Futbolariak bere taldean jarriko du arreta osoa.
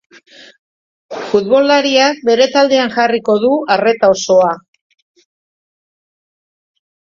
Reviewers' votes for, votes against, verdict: 3, 0, accepted